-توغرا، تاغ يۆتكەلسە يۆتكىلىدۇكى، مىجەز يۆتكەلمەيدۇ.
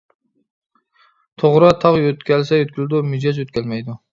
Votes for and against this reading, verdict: 0, 2, rejected